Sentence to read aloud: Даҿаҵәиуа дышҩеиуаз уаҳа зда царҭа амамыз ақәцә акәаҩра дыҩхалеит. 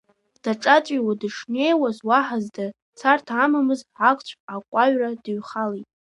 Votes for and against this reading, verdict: 0, 2, rejected